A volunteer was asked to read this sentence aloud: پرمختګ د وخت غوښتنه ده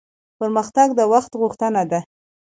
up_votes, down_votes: 2, 0